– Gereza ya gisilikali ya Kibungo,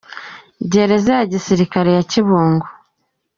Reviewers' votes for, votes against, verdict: 2, 0, accepted